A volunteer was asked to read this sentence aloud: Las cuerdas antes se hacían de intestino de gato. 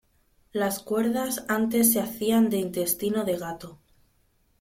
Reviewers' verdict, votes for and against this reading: accepted, 2, 0